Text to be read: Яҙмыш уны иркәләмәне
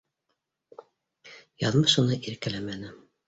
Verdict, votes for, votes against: accepted, 2, 0